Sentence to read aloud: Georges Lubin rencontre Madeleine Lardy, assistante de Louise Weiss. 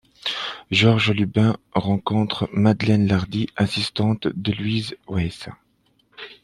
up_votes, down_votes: 2, 1